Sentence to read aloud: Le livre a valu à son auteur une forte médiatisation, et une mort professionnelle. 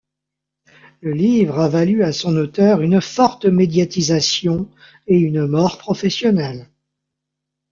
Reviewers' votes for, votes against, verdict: 2, 0, accepted